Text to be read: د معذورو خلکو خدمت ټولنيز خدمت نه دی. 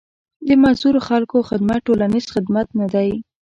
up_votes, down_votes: 2, 0